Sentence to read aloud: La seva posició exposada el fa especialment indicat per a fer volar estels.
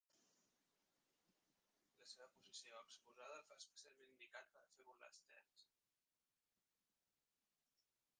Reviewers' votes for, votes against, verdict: 0, 2, rejected